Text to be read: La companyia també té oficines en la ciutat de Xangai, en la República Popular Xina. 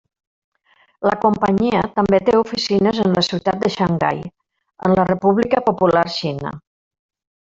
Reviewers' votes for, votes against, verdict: 1, 2, rejected